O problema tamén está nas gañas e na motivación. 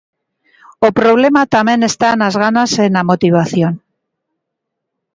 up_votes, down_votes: 0, 2